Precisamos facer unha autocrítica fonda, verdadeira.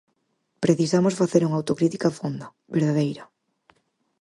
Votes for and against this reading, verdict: 6, 0, accepted